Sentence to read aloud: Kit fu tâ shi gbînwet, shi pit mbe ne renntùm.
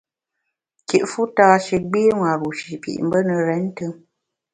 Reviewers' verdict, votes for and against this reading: rejected, 1, 2